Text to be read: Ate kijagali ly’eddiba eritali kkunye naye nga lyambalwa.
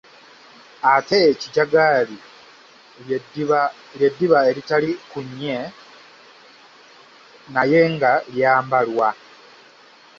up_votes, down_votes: 1, 2